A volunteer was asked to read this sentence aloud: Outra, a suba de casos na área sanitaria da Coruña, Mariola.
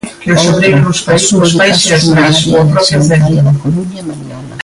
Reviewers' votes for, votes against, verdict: 1, 2, rejected